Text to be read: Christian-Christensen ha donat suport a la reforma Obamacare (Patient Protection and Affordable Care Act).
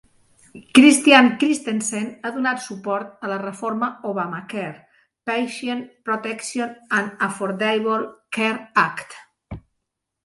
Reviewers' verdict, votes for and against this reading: accepted, 2, 0